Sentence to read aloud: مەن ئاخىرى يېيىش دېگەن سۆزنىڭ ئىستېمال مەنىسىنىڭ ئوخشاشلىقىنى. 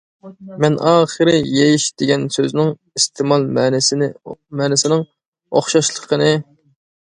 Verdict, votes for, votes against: rejected, 0, 2